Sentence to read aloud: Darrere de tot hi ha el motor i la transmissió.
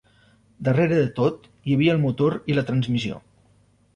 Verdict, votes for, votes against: rejected, 1, 2